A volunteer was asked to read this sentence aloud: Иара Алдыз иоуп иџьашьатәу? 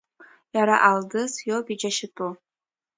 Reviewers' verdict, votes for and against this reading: accepted, 2, 0